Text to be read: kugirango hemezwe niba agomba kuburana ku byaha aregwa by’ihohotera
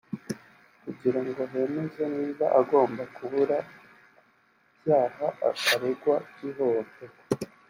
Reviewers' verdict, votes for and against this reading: rejected, 0, 2